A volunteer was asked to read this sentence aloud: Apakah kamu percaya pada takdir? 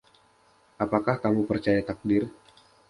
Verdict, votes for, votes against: rejected, 0, 2